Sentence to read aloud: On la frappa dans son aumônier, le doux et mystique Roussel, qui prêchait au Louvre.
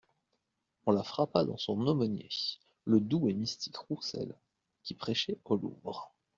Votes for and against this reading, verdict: 2, 1, accepted